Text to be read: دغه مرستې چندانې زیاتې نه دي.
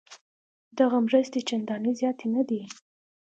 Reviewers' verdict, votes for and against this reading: accepted, 2, 0